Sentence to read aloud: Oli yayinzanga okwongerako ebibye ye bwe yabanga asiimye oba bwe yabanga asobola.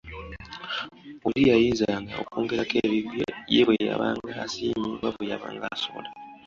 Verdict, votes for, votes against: accepted, 2, 1